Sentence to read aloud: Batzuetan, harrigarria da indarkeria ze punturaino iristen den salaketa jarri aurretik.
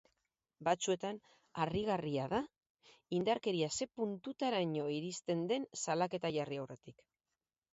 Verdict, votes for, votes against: rejected, 0, 4